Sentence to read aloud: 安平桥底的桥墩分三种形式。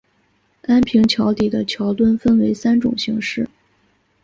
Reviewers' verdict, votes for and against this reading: accepted, 2, 0